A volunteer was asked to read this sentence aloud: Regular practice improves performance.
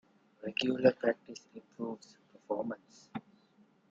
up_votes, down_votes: 1, 3